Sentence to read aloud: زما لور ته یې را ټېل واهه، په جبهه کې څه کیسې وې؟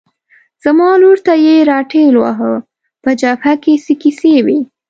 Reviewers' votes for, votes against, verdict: 2, 0, accepted